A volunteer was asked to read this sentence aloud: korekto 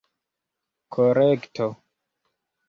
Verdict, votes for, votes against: accepted, 3, 0